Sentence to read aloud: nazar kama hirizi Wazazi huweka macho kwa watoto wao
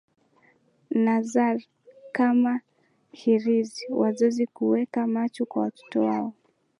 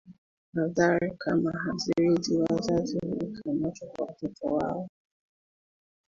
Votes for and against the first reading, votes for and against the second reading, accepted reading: 8, 1, 0, 2, first